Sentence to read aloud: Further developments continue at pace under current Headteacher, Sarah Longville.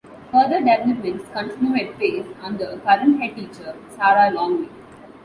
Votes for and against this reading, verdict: 0, 2, rejected